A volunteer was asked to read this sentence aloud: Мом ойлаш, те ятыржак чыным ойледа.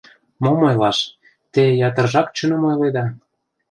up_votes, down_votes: 2, 0